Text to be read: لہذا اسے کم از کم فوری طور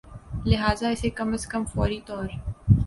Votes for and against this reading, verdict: 8, 0, accepted